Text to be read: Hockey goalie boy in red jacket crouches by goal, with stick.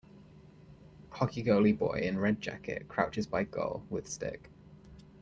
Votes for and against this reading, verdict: 2, 0, accepted